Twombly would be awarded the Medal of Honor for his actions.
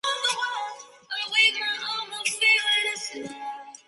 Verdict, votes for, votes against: rejected, 0, 2